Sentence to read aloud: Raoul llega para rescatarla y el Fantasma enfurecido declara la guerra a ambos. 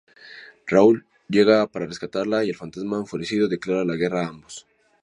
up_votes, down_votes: 6, 0